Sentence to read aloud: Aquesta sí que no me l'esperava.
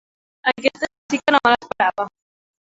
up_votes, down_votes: 1, 2